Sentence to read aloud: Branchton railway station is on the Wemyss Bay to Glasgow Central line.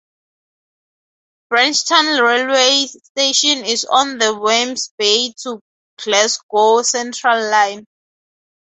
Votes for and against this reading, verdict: 2, 0, accepted